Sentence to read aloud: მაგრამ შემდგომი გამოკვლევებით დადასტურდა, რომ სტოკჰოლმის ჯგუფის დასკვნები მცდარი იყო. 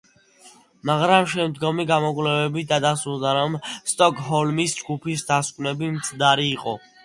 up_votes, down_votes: 2, 1